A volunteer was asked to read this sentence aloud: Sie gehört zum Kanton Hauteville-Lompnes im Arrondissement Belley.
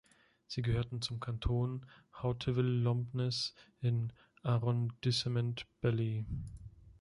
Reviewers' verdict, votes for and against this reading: rejected, 0, 2